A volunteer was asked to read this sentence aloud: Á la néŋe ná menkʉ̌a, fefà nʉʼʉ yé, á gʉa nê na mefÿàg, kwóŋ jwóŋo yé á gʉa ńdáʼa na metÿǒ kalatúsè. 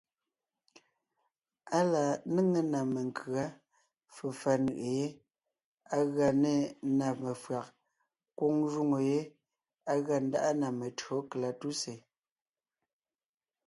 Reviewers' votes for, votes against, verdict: 2, 0, accepted